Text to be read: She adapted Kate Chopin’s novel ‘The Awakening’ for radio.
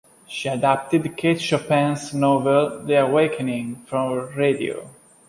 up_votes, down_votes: 2, 0